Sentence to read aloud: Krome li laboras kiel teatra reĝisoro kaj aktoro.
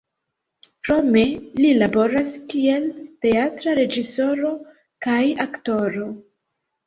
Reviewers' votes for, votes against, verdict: 1, 2, rejected